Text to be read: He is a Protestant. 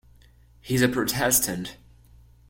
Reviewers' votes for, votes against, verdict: 0, 2, rejected